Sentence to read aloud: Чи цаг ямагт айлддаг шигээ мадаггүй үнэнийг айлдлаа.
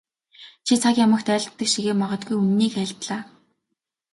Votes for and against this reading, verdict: 2, 0, accepted